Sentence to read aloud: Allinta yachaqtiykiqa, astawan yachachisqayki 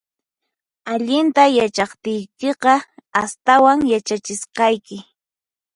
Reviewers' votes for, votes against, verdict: 4, 0, accepted